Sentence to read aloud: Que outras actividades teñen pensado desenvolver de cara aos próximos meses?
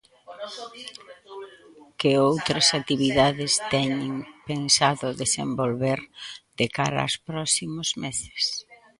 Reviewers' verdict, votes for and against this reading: accepted, 2, 1